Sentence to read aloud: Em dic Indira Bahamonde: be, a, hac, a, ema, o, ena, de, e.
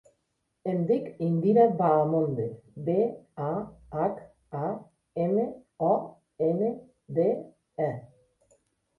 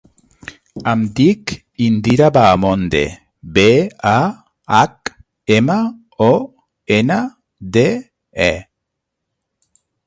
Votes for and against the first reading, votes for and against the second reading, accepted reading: 2, 0, 0, 3, first